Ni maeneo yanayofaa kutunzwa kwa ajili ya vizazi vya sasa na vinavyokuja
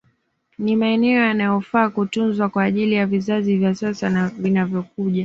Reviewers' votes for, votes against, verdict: 2, 0, accepted